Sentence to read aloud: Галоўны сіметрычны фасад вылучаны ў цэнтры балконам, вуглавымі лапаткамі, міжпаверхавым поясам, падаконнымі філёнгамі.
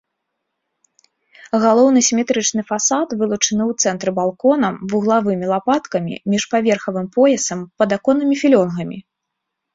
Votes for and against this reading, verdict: 2, 0, accepted